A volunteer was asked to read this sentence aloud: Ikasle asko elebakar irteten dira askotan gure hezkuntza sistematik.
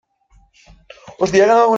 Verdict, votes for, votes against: rejected, 0, 2